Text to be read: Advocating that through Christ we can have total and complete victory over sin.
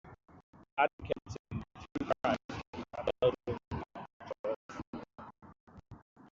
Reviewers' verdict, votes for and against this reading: rejected, 0, 2